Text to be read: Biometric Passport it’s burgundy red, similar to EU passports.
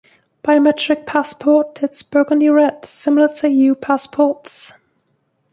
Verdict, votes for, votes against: rejected, 1, 2